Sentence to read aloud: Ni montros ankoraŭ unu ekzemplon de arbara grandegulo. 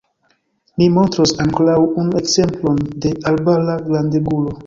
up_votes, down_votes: 1, 2